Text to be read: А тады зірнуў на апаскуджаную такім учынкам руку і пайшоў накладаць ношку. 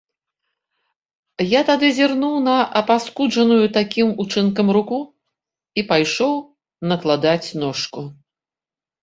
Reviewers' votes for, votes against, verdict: 3, 4, rejected